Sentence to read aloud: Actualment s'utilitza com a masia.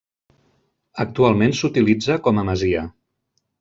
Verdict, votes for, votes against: accepted, 3, 0